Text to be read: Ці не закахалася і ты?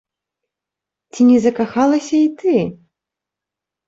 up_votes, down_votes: 2, 0